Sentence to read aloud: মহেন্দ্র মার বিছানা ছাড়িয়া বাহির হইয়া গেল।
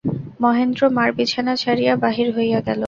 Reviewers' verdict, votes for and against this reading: accepted, 2, 0